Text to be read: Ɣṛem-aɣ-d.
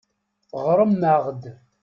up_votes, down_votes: 2, 0